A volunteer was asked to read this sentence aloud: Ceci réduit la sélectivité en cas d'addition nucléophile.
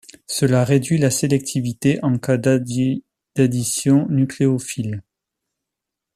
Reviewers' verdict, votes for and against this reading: rejected, 0, 2